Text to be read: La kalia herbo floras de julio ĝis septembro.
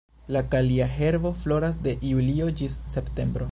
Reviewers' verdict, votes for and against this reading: accepted, 2, 0